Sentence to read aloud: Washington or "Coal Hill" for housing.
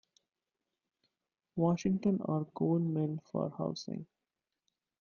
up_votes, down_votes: 2, 0